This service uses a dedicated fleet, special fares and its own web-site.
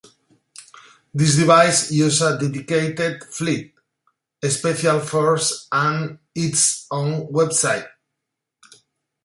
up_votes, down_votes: 0, 2